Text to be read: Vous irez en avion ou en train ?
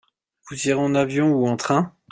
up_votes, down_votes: 2, 0